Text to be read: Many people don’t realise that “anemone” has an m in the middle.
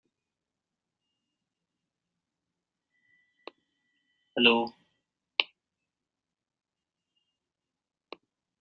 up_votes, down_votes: 0, 2